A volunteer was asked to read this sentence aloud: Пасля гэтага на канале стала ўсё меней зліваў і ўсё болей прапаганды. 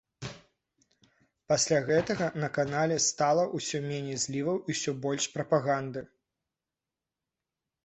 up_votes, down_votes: 1, 2